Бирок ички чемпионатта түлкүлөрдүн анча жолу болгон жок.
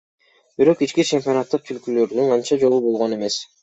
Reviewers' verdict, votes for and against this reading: accepted, 3, 0